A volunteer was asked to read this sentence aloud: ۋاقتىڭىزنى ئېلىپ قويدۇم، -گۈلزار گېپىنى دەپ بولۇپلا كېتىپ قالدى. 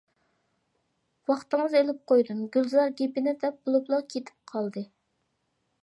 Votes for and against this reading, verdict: 2, 0, accepted